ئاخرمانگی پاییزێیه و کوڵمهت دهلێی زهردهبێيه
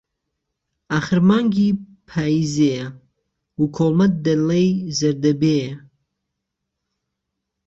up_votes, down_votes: 2, 1